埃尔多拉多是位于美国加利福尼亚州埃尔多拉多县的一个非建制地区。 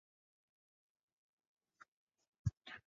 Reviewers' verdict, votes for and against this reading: rejected, 0, 2